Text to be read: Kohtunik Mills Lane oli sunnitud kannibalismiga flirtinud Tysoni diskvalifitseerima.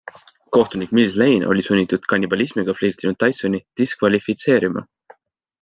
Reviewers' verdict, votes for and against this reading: accepted, 2, 0